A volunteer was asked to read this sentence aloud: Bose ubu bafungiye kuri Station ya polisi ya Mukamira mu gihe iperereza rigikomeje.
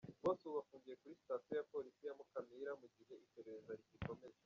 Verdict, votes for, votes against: rejected, 1, 2